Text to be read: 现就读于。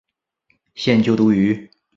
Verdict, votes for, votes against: accepted, 3, 0